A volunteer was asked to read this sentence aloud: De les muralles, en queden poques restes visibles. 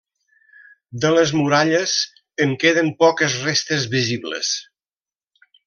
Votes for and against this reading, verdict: 3, 0, accepted